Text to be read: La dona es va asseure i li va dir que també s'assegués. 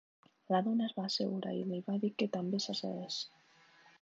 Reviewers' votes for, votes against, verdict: 2, 0, accepted